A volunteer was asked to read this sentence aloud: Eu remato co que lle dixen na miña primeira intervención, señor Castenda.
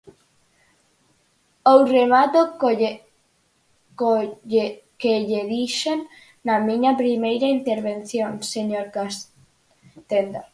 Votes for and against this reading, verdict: 2, 4, rejected